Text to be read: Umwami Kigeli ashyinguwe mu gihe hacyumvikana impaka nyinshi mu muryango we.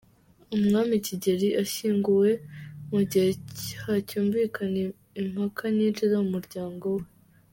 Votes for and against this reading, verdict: 1, 2, rejected